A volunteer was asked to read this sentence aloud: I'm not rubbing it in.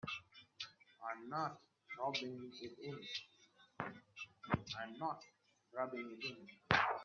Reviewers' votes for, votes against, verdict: 0, 2, rejected